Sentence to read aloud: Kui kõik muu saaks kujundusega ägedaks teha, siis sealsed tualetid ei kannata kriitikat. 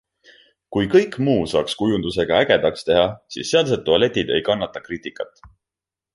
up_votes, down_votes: 2, 0